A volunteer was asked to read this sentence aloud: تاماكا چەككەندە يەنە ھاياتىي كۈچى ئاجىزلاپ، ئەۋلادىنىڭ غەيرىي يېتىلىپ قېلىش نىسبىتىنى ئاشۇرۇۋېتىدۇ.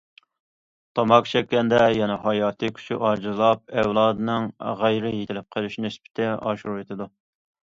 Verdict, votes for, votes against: rejected, 0, 2